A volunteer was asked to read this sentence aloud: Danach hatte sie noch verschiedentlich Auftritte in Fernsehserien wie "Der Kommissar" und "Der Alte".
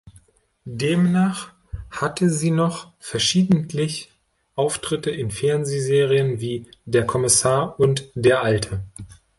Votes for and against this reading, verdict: 1, 2, rejected